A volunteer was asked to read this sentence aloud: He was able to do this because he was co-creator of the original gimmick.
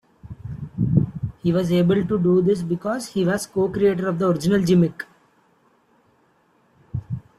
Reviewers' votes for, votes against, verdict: 0, 2, rejected